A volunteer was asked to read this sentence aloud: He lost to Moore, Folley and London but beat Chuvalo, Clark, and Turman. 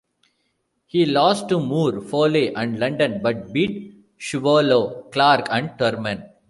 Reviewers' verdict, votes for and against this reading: rejected, 0, 2